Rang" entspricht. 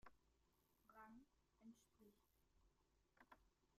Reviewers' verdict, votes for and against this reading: rejected, 0, 2